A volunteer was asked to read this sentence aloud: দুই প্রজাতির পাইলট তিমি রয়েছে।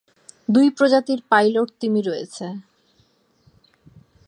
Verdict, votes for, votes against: accepted, 4, 0